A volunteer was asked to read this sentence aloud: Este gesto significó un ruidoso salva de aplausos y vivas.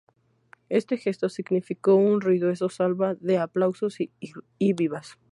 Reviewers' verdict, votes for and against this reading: rejected, 0, 2